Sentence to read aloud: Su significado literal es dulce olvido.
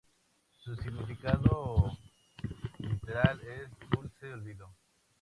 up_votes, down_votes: 0, 2